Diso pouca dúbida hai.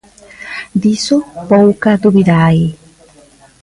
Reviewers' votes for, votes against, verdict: 1, 2, rejected